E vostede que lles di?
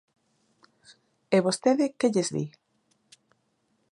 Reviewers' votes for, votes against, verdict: 2, 0, accepted